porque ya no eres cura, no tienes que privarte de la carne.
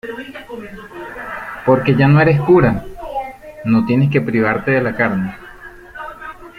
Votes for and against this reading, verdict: 2, 1, accepted